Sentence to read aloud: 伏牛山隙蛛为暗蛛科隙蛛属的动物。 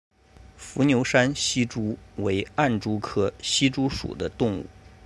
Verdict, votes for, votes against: rejected, 1, 2